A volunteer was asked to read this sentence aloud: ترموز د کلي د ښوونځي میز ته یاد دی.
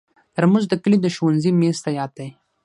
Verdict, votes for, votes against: accepted, 6, 3